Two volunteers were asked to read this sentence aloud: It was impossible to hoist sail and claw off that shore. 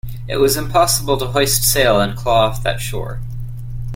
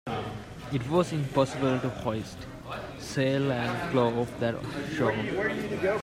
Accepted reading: first